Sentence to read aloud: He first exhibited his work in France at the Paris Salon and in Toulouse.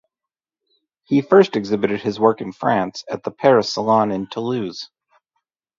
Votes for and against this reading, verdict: 2, 0, accepted